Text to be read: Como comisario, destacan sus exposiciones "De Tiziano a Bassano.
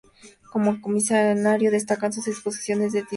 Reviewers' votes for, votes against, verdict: 0, 2, rejected